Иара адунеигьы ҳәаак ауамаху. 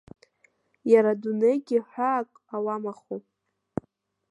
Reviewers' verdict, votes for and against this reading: rejected, 0, 2